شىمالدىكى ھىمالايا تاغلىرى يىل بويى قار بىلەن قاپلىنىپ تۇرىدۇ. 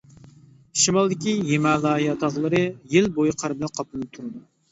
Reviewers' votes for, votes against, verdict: 1, 2, rejected